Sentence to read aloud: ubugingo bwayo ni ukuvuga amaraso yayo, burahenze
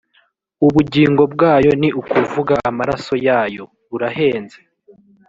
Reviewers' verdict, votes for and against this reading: accepted, 2, 0